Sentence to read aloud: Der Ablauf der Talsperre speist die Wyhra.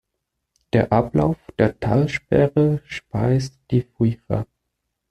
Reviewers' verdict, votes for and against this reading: rejected, 0, 2